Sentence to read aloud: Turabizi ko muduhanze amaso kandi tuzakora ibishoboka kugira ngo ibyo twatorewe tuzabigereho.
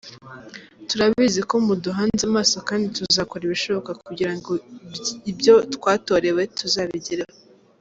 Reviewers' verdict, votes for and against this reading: rejected, 1, 2